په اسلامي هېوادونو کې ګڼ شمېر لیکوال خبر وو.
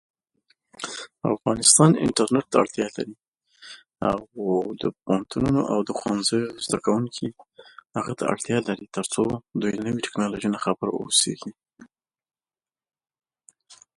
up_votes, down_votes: 0, 2